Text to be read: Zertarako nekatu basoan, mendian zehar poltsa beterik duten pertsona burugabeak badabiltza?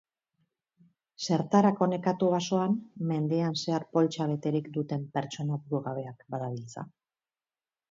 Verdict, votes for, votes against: accepted, 8, 0